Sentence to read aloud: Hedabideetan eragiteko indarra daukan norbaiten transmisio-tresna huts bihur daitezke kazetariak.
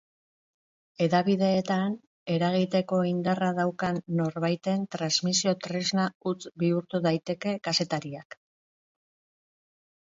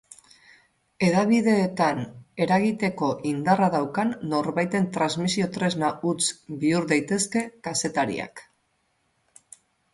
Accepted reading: second